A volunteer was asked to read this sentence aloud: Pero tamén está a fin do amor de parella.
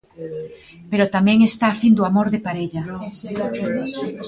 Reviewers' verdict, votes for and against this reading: accepted, 2, 1